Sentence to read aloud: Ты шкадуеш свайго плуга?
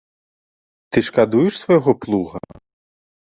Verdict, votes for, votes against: accepted, 2, 0